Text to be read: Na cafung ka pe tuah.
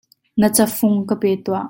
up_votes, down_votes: 2, 0